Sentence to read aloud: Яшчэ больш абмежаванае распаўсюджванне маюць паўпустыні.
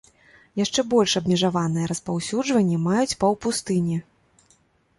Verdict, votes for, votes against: accepted, 2, 0